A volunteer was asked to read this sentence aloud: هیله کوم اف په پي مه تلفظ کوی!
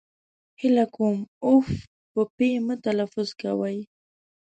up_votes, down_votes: 2, 1